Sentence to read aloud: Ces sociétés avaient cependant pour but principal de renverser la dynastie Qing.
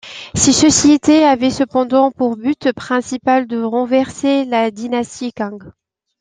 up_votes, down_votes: 0, 2